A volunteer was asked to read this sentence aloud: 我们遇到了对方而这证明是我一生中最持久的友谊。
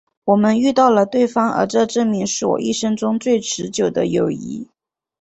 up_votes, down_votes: 2, 0